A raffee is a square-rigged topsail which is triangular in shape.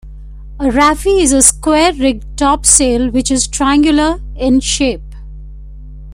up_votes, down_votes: 2, 0